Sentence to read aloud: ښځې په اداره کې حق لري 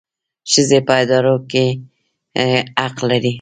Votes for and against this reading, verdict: 1, 3, rejected